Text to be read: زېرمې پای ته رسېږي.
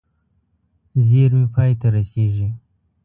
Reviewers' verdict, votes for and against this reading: accepted, 2, 0